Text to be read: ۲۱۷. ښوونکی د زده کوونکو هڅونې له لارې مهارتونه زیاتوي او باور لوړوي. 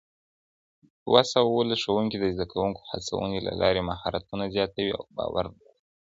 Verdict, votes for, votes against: rejected, 0, 2